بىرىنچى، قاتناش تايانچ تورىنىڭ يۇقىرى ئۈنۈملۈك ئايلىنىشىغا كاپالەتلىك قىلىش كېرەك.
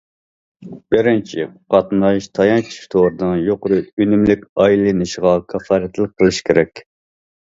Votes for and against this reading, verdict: 1, 2, rejected